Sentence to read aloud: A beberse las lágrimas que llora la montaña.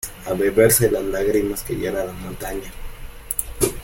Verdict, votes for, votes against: accepted, 2, 0